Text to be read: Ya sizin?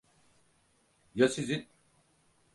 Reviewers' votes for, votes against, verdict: 4, 0, accepted